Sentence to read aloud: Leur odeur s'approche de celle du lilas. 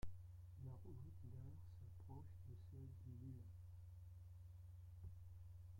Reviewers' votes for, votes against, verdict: 0, 2, rejected